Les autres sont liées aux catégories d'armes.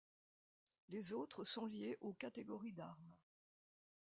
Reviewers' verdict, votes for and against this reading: accepted, 2, 0